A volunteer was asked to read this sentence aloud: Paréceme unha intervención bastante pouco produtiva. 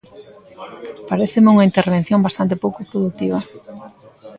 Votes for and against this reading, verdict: 2, 0, accepted